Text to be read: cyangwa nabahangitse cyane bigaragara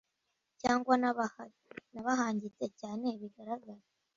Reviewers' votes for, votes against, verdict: 0, 2, rejected